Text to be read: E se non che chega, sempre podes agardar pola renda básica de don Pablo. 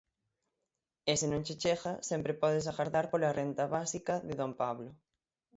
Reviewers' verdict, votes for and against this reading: accepted, 6, 3